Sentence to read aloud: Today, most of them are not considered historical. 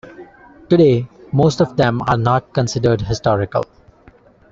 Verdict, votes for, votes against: accepted, 2, 0